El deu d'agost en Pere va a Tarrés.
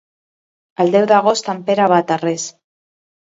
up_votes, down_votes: 2, 0